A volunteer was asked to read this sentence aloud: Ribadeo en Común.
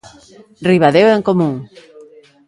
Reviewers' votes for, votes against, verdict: 2, 0, accepted